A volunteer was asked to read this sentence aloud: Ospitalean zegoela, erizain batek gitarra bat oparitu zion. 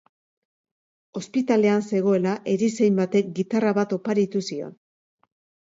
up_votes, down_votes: 2, 0